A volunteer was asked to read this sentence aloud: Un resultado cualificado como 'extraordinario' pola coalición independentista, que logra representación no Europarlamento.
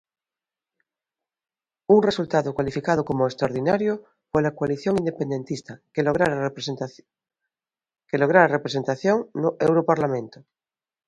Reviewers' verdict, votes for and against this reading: rejected, 0, 2